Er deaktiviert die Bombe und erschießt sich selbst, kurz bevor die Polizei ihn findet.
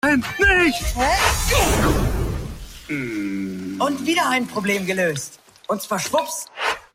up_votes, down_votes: 0, 2